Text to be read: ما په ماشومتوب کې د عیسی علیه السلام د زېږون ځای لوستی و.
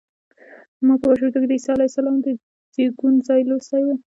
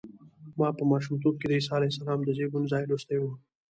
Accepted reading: second